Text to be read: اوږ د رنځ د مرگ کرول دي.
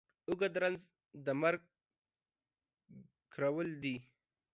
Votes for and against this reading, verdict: 1, 2, rejected